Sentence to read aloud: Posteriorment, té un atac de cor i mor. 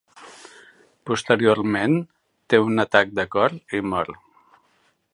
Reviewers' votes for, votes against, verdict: 4, 0, accepted